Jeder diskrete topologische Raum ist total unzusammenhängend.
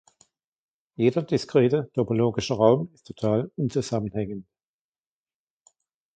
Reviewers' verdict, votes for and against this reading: accepted, 2, 1